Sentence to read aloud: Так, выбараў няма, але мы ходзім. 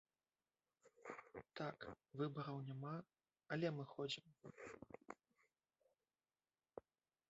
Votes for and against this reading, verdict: 0, 2, rejected